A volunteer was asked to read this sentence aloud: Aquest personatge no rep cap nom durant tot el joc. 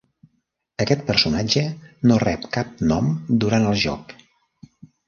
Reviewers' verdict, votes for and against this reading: rejected, 0, 2